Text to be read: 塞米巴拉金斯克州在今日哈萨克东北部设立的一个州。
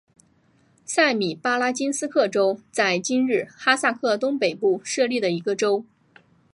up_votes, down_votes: 2, 0